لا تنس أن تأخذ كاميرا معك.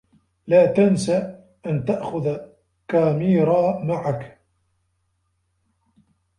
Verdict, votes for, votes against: rejected, 1, 2